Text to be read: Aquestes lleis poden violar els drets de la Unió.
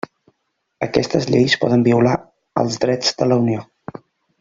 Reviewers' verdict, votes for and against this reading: accepted, 3, 0